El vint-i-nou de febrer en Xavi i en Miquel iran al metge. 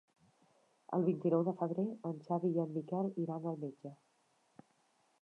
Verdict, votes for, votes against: accepted, 3, 0